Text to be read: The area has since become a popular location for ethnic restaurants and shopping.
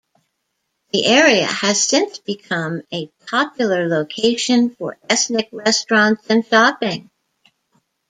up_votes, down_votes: 2, 0